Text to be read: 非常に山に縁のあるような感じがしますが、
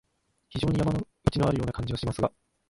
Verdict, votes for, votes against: rejected, 2, 4